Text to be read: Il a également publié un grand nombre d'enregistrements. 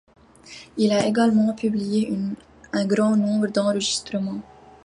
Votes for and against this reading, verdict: 2, 1, accepted